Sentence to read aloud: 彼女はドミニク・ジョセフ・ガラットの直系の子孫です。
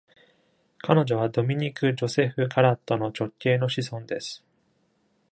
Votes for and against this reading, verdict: 1, 2, rejected